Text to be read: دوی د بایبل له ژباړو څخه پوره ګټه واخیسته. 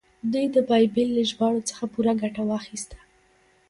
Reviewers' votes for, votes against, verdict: 1, 2, rejected